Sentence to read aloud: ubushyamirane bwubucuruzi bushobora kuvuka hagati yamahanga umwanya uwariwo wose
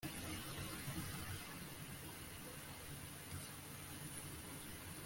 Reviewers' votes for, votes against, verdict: 0, 2, rejected